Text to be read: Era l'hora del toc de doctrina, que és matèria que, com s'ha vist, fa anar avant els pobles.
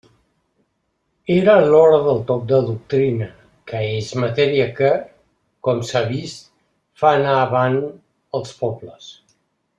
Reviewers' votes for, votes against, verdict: 2, 0, accepted